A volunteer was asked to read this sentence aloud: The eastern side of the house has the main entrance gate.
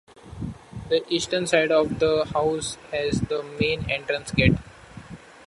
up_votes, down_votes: 2, 1